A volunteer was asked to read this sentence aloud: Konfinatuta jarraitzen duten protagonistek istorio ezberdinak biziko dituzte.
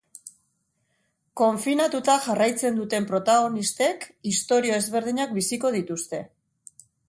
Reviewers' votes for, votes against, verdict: 4, 0, accepted